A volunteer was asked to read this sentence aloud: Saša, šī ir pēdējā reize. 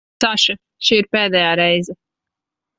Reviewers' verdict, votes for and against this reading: rejected, 0, 2